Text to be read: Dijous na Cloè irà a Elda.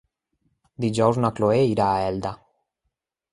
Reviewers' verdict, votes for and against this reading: accepted, 2, 0